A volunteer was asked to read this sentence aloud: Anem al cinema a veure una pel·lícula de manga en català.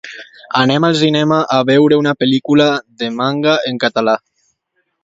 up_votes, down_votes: 2, 0